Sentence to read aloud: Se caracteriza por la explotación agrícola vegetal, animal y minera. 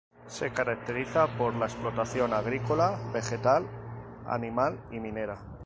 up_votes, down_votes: 2, 0